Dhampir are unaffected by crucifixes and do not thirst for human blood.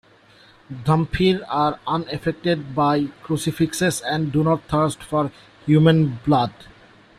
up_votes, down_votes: 2, 0